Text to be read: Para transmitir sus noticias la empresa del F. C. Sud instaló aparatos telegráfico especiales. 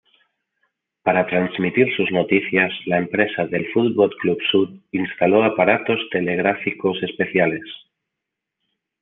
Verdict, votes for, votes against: rejected, 1, 2